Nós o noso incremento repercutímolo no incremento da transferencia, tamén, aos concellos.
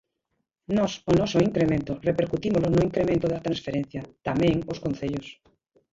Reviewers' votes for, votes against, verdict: 0, 2, rejected